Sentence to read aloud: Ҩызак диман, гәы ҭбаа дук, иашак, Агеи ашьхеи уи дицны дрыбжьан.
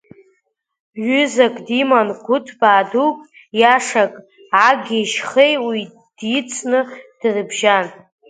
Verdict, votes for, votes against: accepted, 2, 0